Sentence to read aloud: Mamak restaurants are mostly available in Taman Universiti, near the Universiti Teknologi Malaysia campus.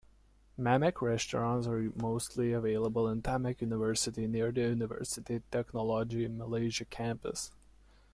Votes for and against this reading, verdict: 1, 2, rejected